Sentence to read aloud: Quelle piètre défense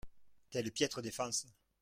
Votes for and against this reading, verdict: 1, 2, rejected